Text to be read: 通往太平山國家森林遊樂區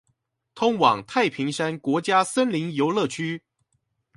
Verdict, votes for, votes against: accepted, 2, 0